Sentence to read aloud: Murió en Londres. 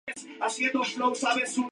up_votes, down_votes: 0, 2